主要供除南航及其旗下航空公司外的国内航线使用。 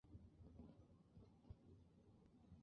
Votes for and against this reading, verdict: 2, 1, accepted